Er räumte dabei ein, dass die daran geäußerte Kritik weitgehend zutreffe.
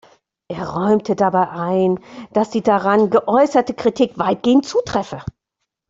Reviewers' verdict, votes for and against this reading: accepted, 2, 0